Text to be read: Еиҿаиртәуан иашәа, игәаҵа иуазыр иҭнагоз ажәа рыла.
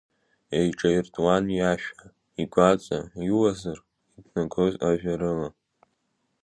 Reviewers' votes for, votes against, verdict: 2, 0, accepted